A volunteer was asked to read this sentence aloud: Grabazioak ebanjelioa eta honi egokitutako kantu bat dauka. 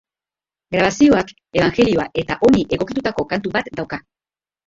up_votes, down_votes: 1, 2